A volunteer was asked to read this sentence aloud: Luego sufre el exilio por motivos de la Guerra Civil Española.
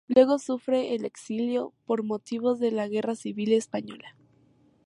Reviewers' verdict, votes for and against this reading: accepted, 2, 0